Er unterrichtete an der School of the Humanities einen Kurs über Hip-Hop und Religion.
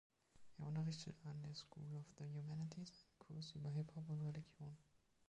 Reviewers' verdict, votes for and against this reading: rejected, 0, 2